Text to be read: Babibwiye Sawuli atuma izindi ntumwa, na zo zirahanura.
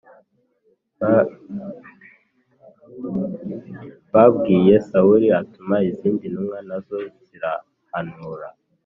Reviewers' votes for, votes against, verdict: 0, 2, rejected